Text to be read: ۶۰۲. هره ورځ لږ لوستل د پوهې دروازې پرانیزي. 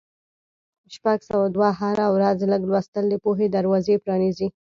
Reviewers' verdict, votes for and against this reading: rejected, 0, 2